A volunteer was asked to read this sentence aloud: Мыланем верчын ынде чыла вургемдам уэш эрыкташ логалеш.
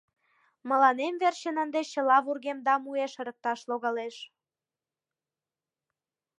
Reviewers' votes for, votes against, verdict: 1, 2, rejected